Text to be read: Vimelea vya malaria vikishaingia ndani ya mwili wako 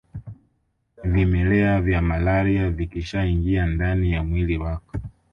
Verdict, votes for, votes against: accepted, 2, 0